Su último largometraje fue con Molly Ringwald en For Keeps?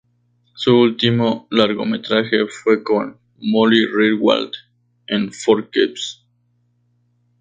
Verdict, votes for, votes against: accepted, 2, 0